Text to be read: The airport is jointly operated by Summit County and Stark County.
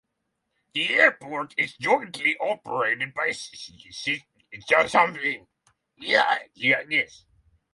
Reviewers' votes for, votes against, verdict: 0, 3, rejected